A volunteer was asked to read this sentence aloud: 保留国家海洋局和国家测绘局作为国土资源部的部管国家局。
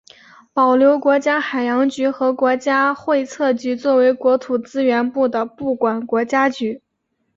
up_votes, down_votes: 3, 0